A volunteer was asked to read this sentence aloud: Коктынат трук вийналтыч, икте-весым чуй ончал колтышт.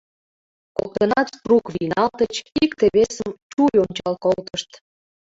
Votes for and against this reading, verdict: 2, 0, accepted